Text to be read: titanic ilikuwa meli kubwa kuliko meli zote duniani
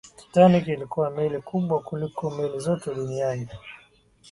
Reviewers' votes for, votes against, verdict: 5, 3, accepted